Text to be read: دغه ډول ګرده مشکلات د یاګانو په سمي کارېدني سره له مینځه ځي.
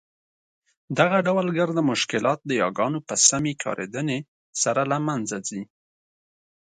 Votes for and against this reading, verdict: 2, 0, accepted